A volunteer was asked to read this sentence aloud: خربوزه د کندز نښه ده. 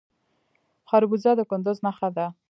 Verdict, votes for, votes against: accepted, 2, 1